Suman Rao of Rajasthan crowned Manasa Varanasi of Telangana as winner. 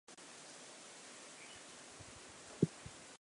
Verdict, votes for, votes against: rejected, 0, 2